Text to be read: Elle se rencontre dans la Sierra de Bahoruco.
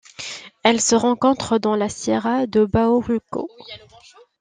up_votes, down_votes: 2, 0